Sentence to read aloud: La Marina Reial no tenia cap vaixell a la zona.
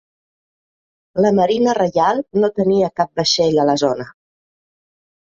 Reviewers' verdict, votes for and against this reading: accepted, 4, 0